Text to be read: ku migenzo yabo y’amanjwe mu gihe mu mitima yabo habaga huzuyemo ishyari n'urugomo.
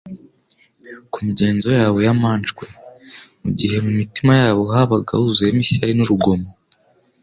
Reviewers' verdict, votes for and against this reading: accepted, 2, 0